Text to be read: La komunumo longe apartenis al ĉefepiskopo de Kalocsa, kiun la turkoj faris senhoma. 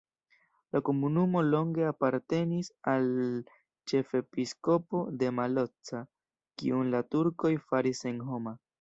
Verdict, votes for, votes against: rejected, 1, 2